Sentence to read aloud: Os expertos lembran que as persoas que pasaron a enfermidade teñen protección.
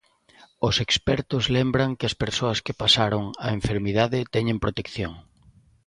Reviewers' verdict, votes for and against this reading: accepted, 3, 0